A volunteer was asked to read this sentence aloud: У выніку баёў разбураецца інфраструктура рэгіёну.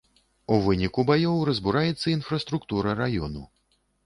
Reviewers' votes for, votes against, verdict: 1, 2, rejected